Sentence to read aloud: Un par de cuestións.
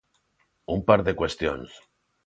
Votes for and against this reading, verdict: 2, 1, accepted